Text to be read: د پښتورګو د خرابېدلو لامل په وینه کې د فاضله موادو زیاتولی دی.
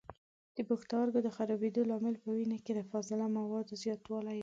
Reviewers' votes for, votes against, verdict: 0, 2, rejected